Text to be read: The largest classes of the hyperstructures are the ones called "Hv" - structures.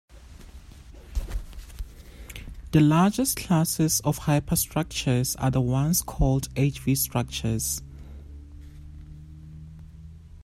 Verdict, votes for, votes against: accepted, 2, 1